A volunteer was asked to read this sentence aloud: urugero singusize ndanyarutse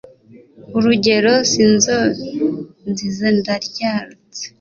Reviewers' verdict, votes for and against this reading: rejected, 0, 2